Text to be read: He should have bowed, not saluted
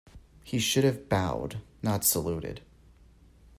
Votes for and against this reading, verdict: 2, 0, accepted